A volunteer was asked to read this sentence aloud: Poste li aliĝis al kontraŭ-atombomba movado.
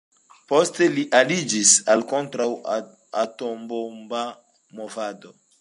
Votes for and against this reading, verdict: 1, 2, rejected